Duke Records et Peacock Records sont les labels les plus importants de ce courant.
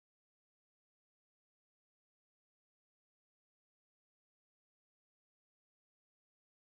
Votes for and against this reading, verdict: 0, 2, rejected